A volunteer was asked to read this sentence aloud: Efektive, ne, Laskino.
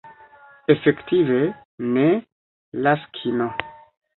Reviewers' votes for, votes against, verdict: 1, 2, rejected